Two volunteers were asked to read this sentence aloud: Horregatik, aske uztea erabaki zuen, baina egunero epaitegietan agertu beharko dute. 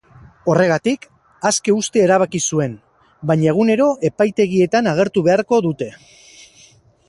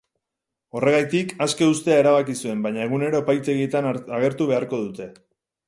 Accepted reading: first